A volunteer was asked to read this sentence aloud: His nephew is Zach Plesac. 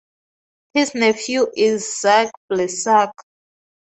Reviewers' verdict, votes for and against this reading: accepted, 4, 0